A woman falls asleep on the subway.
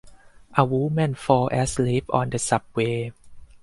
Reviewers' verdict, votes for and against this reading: rejected, 2, 2